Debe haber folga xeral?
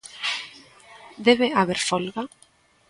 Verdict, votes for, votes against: rejected, 0, 2